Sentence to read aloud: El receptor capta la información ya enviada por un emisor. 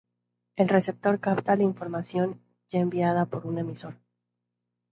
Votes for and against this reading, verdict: 2, 0, accepted